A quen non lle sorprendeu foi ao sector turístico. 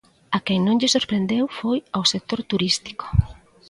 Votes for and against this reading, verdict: 2, 0, accepted